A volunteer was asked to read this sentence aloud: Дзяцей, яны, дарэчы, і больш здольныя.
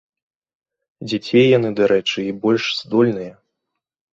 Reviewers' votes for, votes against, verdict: 2, 0, accepted